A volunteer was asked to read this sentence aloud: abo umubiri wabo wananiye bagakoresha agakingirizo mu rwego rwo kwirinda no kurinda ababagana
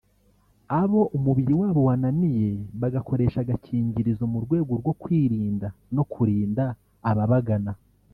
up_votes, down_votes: 1, 2